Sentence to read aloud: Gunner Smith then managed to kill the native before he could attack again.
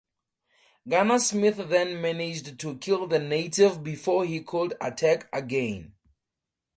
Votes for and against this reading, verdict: 6, 0, accepted